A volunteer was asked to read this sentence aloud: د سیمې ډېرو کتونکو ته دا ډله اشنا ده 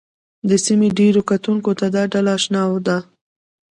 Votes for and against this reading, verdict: 1, 2, rejected